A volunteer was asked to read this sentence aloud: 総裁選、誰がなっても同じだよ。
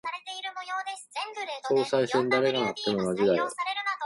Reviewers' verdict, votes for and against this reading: rejected, 1, 2